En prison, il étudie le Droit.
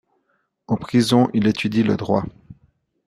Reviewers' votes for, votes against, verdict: 2, 0, accepted